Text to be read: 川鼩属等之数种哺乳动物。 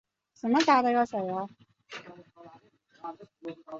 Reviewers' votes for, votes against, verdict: 0, 3, rejected